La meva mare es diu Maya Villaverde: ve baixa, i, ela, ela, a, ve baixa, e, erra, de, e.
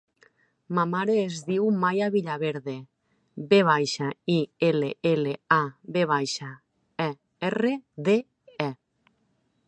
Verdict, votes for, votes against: rejected, 0, 2